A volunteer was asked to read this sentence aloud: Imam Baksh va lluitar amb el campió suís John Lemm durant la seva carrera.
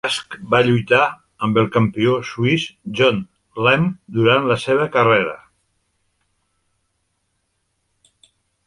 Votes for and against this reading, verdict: 1, 2, rejected